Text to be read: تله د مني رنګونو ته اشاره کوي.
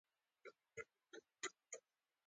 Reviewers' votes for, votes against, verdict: 0, 2, rejected